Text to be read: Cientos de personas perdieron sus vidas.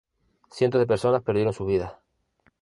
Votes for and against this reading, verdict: 0, 2, rejected